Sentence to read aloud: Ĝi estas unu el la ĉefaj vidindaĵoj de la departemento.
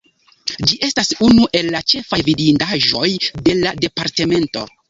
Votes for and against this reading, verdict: 2, 0, accepted